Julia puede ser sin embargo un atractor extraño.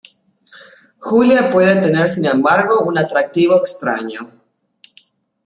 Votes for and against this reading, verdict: 0, 2, rejected